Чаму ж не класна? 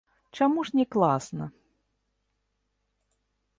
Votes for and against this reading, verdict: 0, 2, rejected